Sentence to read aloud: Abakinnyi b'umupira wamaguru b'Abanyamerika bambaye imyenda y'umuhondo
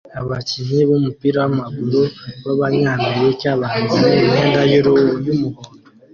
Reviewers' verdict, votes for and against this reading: rejected, 0, 2